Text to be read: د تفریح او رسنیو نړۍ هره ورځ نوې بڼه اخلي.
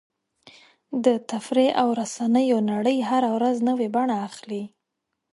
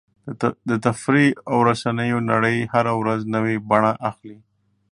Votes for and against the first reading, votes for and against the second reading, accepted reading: 2, 0, 1, 2, first